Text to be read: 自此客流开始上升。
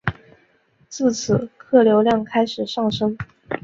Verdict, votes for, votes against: rejected, 0, 2